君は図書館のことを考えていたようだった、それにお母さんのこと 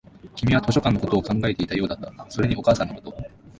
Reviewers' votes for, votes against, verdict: 2, 0, accepted